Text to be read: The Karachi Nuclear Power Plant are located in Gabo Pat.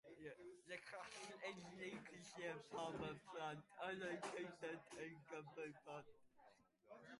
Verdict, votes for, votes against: rejected, 0, 2